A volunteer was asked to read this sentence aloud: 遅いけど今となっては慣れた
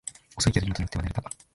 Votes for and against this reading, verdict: 0, 2, rejected